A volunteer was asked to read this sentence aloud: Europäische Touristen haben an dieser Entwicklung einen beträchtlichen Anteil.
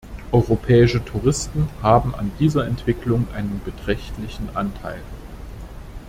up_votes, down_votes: 2, 0